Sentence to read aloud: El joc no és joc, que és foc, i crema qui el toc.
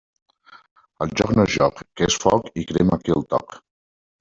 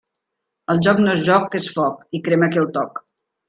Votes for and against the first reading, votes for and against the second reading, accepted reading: 1, 2, 2, 0, second